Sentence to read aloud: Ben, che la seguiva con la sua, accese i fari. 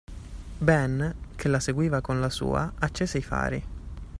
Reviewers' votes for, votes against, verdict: 2, 0, accepted